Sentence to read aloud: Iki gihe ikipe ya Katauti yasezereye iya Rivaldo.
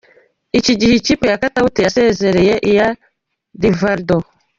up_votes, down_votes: 2, 0